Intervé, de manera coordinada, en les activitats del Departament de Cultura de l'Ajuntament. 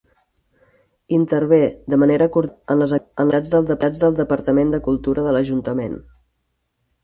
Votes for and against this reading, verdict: 0, 6, rejected